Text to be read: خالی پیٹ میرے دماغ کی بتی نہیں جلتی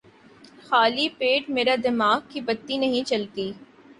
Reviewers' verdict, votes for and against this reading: accepted, 2, 1